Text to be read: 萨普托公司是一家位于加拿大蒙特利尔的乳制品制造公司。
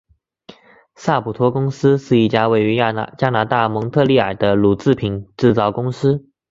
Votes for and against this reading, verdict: 1, 2, rejected